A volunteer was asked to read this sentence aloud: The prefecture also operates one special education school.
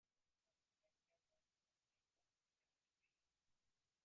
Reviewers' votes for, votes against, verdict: 0, 2, rejected